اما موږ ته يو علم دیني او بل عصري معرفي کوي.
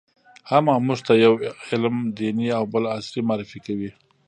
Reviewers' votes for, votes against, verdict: 0, 2, rejected